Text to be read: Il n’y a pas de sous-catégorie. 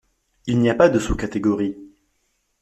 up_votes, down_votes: 2, 0